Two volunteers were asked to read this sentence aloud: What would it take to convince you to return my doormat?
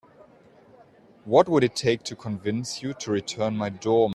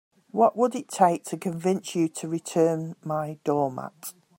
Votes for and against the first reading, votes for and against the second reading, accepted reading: 0, 2, 2, 0, second